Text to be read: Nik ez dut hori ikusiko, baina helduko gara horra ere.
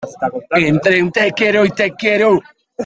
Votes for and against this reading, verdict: 0, 2, rejected